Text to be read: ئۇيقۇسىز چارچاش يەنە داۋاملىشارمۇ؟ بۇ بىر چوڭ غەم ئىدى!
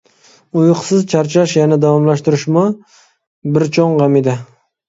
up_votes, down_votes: 0, 2